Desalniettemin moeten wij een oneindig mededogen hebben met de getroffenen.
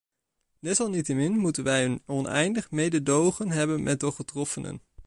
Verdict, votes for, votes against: rejected, 1, 2